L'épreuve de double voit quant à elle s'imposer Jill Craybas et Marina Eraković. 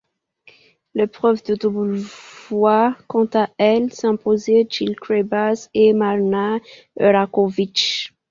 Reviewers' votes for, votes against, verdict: 1, 2, rejected